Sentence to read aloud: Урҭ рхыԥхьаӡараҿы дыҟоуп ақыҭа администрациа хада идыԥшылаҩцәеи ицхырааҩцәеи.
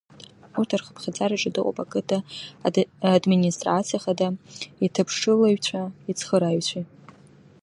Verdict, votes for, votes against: rejected, 1, 2